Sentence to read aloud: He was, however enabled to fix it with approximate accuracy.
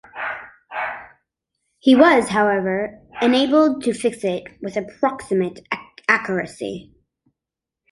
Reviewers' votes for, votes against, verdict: 2, 1, accepted